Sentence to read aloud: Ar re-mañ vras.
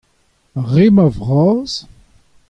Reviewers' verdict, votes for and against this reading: accepted, 2, 0